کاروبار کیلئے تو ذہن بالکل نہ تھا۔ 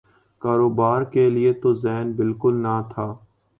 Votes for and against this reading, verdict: 3, 0, accepted